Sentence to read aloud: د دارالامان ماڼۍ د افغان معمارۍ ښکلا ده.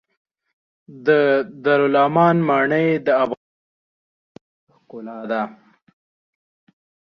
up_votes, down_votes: 0, 2